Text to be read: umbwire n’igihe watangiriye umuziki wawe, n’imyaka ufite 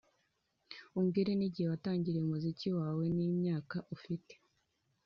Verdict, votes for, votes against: accepted, 2, 0